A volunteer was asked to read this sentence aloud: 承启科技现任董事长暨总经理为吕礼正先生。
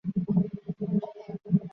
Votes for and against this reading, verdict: 0, 4, rejected